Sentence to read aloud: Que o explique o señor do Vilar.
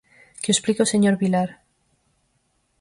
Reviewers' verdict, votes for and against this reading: rejected, 0, 4